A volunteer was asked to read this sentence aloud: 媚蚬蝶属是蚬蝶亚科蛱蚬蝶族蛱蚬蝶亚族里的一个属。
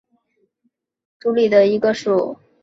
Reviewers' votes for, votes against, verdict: 0, 3, rejected